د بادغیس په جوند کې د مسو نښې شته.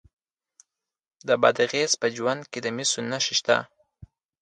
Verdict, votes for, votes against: accepted, 2, 0